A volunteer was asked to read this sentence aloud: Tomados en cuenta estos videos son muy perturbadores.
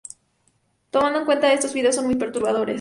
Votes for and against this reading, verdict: 0, 2, rejected